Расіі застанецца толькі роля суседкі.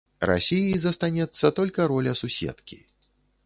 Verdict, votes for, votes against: rejected, 0, 2